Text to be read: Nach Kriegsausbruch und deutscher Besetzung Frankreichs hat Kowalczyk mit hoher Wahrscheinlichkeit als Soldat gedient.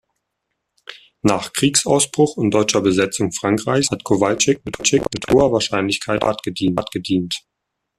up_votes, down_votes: 0, 2